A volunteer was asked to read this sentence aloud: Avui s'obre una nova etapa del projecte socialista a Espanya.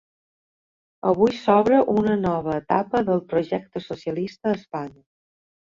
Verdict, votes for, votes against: rejected, 0, 6